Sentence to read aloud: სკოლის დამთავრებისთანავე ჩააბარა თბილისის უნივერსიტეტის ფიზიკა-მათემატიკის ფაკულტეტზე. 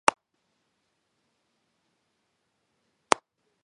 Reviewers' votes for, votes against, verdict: 1, 2, rejected